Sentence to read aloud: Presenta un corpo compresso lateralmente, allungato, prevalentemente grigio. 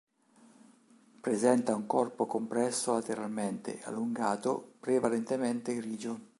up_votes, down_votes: 2, 0